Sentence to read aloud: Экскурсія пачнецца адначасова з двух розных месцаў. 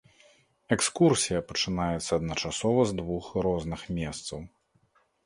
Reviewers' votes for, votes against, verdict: 1, 2, rejected